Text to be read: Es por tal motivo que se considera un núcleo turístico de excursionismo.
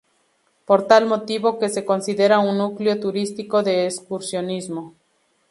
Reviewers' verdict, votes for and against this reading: rejected, 0, 2